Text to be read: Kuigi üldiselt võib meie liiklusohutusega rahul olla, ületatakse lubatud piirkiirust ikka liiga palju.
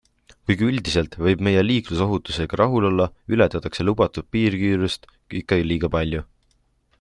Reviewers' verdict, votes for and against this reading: accepted, 2, 0